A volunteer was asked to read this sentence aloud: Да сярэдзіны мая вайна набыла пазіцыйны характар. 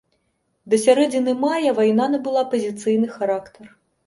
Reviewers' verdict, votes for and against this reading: accepted, 3, 0